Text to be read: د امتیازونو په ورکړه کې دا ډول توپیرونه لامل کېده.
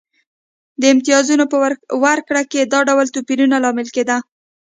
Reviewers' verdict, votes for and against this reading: accepted, 2, 0